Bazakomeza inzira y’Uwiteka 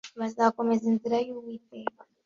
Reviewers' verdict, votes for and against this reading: accepted, 2, 0